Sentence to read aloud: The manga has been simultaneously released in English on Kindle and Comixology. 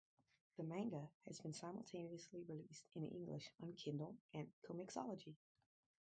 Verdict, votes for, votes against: rejected, 2, 4